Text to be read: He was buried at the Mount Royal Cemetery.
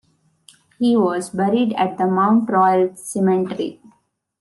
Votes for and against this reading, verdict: 2, 0, accepted